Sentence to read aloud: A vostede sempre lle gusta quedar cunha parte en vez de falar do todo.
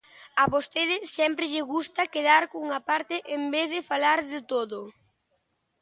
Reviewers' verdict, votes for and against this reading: rejected, 0, 2